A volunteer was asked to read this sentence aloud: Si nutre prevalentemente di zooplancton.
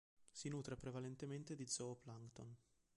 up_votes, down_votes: 2, 0